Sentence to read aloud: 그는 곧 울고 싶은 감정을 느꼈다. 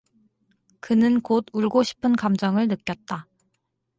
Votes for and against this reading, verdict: 2, 0, accepted